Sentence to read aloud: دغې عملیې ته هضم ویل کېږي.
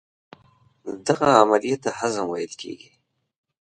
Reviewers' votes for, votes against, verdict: 2, 0, accepted